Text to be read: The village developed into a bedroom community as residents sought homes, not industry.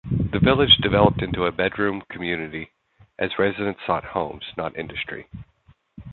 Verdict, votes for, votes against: accepted, 2, 0